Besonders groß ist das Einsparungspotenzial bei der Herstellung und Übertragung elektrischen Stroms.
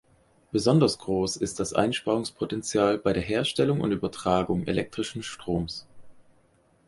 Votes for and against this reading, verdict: 4, 0, accepted